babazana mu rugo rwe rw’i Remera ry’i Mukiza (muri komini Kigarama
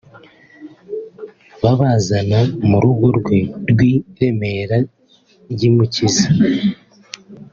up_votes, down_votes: 1, 2